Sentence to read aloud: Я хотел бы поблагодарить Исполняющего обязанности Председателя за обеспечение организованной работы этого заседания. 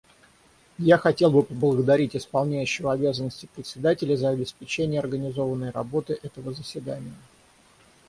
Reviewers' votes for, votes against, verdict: 0, 3, rejected